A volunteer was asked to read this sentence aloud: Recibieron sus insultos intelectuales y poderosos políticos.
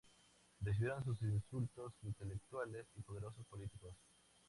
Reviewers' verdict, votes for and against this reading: accepted, 4, 2